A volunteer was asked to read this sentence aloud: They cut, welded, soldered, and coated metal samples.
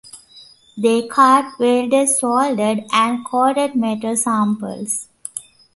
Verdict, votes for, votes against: accepted, 2, 1